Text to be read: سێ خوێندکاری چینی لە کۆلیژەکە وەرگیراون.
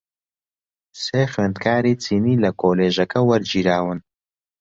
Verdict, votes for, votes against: accepted, 2, 0